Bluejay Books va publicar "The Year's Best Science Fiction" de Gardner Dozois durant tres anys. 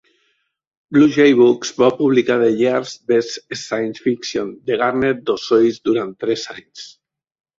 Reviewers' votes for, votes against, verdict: 2, 0, accepted